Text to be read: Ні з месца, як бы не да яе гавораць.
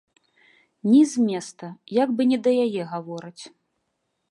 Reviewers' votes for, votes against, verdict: 0, 3, rejected